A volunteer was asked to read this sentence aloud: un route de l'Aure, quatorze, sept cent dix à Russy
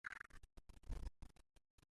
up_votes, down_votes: 0, 2